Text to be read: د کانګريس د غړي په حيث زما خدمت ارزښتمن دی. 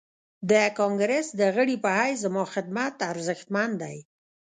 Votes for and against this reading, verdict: 0, 2, rejected